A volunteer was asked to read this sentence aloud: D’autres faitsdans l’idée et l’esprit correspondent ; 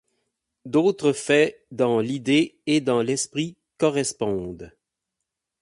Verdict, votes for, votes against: rejected, 0, 4